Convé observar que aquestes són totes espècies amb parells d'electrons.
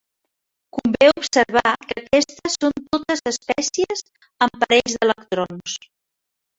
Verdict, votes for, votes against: rejected, 1, 2